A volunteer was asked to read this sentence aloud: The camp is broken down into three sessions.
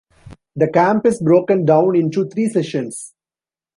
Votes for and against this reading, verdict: 2, 0, accepted